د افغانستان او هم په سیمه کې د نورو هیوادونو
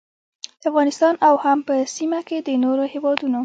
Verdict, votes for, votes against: accepted, 2, 0